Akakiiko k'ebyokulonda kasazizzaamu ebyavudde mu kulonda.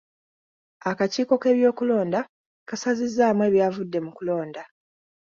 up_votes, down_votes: 2, 0